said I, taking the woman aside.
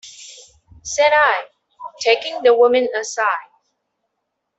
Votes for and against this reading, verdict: 2, 1, accepted